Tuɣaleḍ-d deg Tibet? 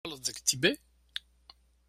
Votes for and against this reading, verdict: 1, 2, rejected